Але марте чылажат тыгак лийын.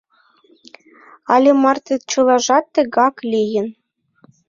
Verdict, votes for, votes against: accepted, 2, 1